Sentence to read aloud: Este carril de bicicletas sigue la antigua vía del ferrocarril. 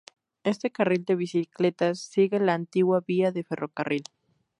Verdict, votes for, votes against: accepted, 2, 0